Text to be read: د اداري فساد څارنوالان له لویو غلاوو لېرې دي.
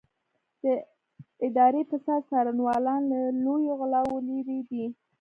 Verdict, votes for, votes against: rejected, 1, 2